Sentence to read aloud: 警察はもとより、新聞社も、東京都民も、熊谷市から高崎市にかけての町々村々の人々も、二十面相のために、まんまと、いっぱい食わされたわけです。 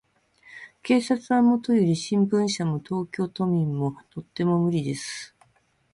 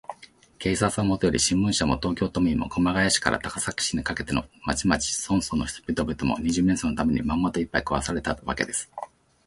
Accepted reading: second